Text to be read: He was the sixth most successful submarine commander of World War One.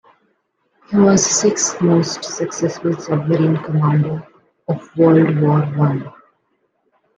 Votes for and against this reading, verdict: 2, 0, accepted